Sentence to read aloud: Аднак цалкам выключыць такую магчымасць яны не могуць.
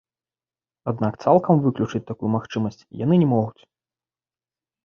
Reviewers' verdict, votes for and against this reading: accepted, 2, 0